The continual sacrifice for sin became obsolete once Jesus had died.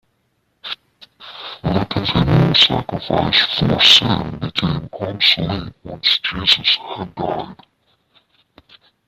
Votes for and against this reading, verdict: 0, 2, rejected